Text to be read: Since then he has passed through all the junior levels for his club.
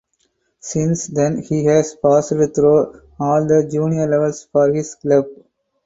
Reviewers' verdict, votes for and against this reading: accepted, 4, 0